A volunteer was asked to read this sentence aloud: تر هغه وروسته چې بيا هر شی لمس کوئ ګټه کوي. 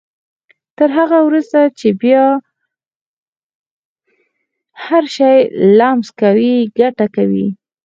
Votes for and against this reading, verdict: 2, 4, rejected